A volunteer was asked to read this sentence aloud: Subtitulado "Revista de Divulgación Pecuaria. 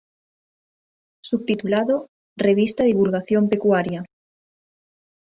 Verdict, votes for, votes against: accepted, 2, 1